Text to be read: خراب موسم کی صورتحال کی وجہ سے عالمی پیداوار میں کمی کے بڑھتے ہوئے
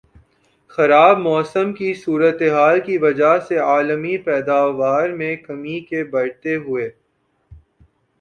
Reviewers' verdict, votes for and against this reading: rejected, 1, 2